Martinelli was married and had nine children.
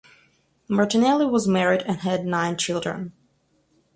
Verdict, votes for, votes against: accepted, 4, 0